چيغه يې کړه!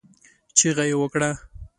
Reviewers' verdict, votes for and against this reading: accepted, 2, 0